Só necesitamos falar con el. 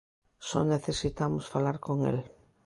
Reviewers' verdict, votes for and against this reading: accepted, 2, 0